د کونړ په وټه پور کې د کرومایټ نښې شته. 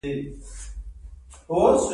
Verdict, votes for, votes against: rejected, 0, 2